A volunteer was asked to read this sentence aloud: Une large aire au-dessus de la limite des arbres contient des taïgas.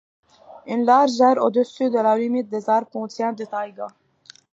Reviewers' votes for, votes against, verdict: 2, 0, accepted